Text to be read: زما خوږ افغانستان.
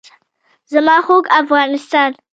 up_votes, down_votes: 1, 2